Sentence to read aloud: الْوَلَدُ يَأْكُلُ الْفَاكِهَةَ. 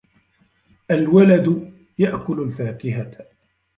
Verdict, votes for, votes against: accepted, 2, 1